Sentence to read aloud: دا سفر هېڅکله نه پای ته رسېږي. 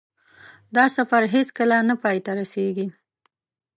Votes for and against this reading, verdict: 2, 0, accepted